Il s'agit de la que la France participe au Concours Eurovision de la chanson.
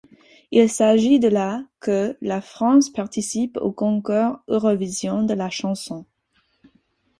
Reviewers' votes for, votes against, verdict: 4, 2, accepted